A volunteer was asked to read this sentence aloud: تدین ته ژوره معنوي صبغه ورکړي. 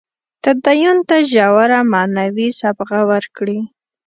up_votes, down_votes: 2, 0